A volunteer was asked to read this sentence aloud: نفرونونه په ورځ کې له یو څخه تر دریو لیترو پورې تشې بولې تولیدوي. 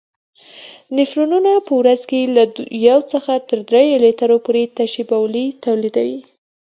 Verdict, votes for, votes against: accepted, 2, 0